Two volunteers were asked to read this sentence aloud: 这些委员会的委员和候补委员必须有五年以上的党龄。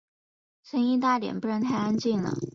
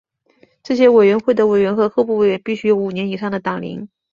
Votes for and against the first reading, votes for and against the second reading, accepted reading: 0, 2, 2, 0, second